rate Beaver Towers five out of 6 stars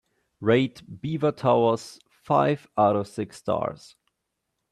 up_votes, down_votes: 0, 2